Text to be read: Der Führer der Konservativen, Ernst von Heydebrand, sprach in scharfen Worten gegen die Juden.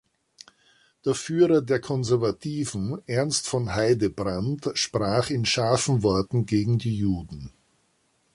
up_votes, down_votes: 2, 0